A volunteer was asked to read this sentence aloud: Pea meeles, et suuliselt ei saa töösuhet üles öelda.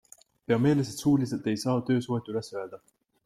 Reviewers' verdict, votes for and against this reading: accepted, 2, 0